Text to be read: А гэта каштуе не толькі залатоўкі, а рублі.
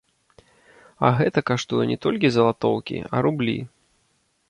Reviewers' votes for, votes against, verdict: 1, 2, rejected